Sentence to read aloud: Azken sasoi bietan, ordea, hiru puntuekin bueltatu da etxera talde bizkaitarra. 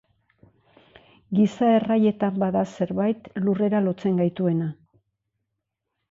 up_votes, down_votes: 0, 2